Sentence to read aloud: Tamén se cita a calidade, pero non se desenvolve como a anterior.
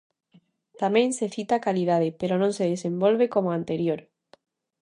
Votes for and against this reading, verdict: 2, 0, accepted